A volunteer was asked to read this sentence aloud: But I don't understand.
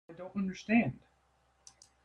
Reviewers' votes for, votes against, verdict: 1, 2, rejected